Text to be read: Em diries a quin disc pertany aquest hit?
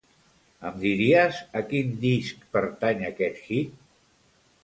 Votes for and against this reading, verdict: 2, 0, accepted